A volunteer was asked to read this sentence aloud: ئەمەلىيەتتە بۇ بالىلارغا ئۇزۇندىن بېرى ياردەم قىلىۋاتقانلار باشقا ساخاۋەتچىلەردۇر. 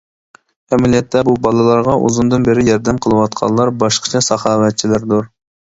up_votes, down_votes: 0, 2